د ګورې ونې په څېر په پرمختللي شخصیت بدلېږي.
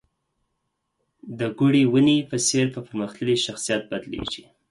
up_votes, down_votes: 4, 0